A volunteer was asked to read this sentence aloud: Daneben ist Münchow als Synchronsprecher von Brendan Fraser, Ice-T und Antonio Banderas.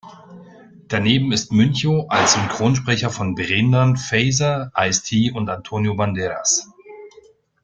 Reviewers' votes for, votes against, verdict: 1, 2, rejected